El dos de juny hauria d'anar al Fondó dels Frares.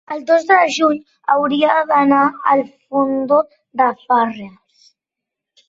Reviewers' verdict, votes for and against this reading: accepted, 2, 1